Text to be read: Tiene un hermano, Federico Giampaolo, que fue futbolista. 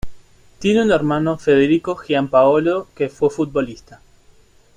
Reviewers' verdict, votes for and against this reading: accepted, 2, 0